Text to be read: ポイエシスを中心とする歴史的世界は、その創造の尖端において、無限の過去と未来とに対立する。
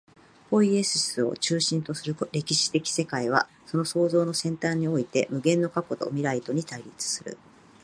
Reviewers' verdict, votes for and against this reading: accepted, 2, 0